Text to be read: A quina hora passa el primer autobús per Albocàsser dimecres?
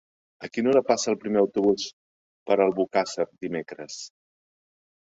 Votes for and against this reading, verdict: 2, 0, accepted